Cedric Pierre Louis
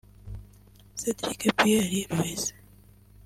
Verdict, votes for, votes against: rejected, 0, 2